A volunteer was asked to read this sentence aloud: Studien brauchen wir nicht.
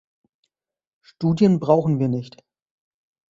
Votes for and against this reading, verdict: 2, 0, accepted